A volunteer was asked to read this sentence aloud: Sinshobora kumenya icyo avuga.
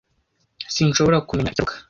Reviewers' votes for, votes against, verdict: 0, 2, rejected